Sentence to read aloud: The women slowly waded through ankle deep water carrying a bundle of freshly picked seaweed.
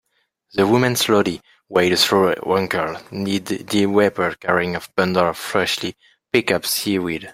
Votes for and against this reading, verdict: 0, 2, rejected